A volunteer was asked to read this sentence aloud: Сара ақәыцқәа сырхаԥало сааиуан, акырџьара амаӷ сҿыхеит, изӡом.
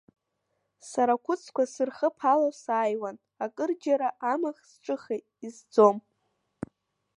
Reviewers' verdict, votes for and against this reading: rejected, 0, 2